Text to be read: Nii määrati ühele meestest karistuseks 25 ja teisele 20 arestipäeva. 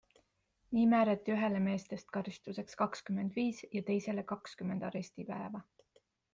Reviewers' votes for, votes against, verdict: 0, 2, rejected